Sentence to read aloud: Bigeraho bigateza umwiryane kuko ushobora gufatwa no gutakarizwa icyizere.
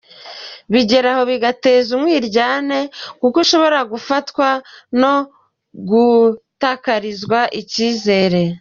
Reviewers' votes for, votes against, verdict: 2, 1, accepted